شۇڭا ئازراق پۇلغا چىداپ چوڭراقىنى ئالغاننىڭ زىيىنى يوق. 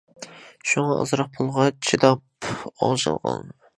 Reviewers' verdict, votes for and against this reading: rejected, 0, 2